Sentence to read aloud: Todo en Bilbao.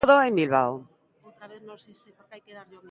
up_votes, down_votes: 0, 2